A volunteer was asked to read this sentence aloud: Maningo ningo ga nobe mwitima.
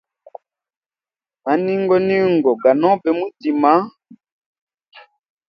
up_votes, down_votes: 2, 0